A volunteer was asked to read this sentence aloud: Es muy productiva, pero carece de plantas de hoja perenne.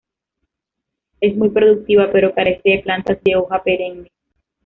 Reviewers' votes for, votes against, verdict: 2, 1, accepted